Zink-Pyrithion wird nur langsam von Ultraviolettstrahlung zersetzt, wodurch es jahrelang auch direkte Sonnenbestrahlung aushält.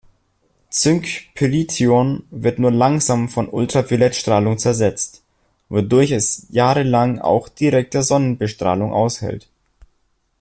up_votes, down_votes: 1, 2